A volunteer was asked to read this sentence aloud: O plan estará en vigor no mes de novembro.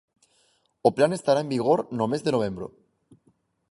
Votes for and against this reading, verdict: 4, 0, accepted